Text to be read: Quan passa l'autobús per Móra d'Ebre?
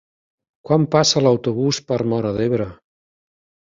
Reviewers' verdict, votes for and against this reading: accepted, 4, 0